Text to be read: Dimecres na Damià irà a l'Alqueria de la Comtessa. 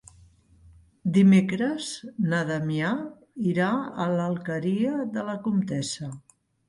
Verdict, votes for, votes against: accepted, 3, 0